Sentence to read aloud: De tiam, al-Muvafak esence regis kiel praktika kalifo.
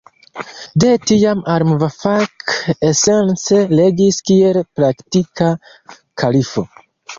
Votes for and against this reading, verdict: 2, 0, accepted